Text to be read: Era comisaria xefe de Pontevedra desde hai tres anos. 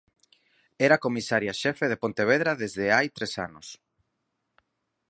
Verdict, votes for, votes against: accepted, 4, 0